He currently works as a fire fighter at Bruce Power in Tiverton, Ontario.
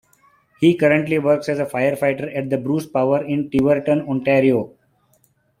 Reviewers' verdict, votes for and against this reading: rejected, 1, 2